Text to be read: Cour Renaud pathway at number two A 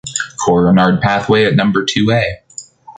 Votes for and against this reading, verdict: 2, 0, accepted